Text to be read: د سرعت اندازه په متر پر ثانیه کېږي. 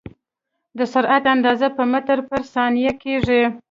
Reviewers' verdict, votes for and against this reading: accepted, 2, 0